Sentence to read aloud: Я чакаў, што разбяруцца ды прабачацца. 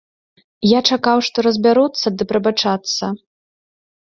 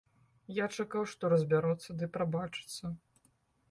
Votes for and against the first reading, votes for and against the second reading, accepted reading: 0, 2, 2, 0, second